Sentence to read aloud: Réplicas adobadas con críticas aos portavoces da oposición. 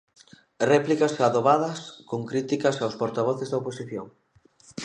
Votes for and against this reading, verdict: 2, 0, accepted